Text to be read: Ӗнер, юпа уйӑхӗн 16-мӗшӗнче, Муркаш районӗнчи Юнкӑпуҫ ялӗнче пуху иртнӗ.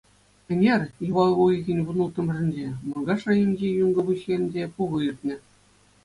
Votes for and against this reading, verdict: 0, 2, rejected